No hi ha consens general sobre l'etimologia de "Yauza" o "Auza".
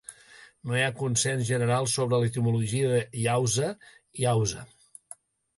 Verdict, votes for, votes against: rejected, 1, 2